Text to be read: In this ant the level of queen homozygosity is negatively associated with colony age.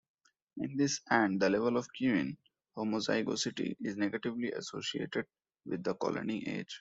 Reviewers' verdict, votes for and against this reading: rejected, 1, 2